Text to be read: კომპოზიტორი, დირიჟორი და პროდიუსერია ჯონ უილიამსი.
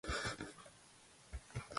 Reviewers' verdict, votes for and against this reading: rejected, 0, 2